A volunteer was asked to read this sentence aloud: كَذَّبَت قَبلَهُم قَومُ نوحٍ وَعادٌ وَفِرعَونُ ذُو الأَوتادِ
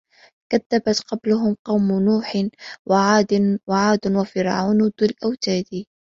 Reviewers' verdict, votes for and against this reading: rejected, 1, 2